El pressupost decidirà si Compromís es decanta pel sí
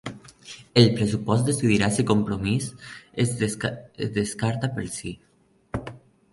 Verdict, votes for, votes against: rejected, 0, 2